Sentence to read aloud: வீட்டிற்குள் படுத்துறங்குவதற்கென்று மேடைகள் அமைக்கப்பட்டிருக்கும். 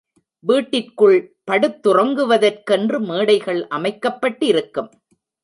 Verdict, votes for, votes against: accepted, 2, 0